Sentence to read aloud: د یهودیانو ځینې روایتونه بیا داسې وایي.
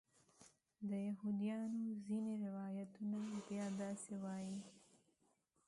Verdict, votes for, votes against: rejected, 1, 2